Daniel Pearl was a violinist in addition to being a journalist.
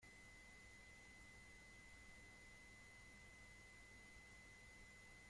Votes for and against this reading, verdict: 0, 2, rejected